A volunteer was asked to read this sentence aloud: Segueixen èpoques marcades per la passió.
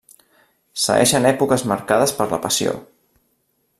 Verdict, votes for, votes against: rejected, 1, 2